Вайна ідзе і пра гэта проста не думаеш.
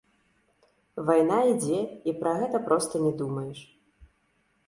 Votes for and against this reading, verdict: 0, 2, rejected